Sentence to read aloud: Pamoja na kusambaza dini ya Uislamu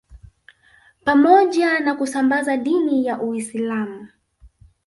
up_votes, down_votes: 0, 2